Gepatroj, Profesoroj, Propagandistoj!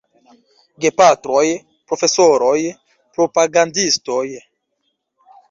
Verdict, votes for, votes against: accepted, 2, 0